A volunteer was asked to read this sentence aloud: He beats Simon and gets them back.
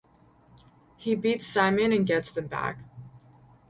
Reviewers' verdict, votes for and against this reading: accepted, 4, 0